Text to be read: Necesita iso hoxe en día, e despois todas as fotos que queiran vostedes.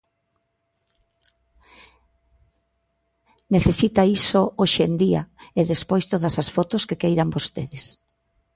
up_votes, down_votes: 2, 0